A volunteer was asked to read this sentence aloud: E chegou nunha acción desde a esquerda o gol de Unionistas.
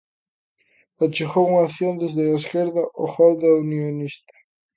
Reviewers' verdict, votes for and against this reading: rejected, 0, 3